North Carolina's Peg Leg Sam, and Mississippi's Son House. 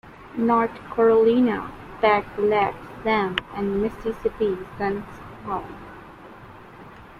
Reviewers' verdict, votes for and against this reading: rejected, 1, 2